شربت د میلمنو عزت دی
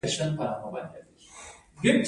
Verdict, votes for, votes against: rejected, 1, 2